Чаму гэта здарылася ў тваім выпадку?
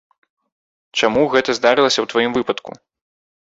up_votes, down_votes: 2, 0